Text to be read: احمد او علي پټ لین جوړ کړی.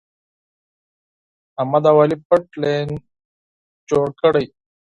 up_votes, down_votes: 4, 0